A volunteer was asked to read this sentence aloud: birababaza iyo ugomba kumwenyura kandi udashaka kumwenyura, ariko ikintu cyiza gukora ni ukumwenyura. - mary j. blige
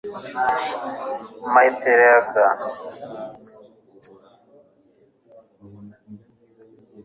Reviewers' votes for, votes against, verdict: 0, 2, rejected